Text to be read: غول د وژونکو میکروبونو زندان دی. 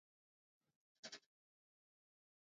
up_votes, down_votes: 1, 2